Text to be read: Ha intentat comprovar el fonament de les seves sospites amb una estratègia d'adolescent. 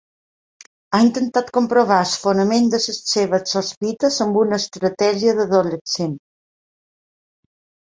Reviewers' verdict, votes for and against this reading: rejected, 1, 2